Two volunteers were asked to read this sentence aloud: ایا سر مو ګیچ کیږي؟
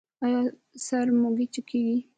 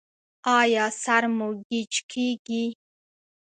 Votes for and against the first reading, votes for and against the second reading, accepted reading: 1, 2, 2, 0, second